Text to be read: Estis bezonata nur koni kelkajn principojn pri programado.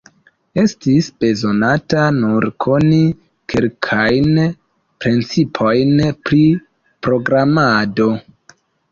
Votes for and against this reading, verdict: 2, 0, accepted